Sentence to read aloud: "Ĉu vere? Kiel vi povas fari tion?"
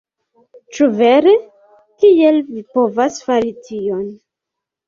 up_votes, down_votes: 2, 0